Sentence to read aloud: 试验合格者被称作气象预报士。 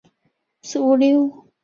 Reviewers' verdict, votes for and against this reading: rejected, 0, 2